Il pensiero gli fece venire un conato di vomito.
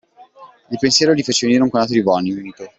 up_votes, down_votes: 1, 2